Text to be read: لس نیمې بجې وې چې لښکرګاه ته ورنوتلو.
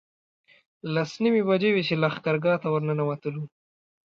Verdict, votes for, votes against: accepted, 2, 0